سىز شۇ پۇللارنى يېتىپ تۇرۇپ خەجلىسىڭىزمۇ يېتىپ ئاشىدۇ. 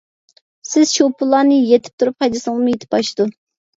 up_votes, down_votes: 1, 2